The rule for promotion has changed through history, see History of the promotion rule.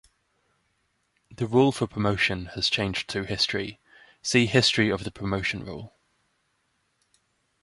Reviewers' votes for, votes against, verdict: 0, 2, rejected